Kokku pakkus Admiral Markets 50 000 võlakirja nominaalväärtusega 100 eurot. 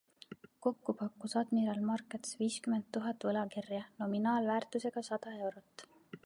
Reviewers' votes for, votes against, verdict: 0, 2, rejected